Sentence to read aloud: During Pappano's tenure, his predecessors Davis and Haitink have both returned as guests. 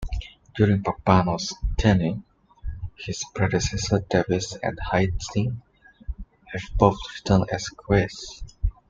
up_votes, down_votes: 1, 2